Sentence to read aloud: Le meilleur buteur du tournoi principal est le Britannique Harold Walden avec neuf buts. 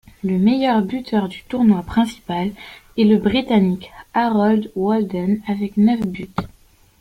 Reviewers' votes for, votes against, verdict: 2, 0, accepted